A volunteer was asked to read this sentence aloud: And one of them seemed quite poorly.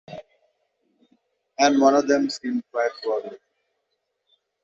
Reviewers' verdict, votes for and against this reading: rejected, 1, 2